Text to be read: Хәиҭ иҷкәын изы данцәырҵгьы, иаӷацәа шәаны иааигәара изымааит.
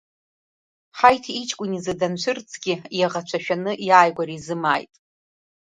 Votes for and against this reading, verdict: 1, 2, rejected